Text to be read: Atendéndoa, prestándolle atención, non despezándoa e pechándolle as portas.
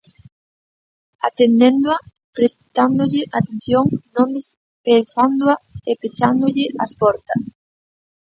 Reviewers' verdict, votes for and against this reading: rejected, 0, 2